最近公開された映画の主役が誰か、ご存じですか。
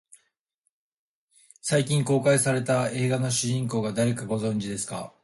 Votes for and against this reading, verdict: 0, 2, rejected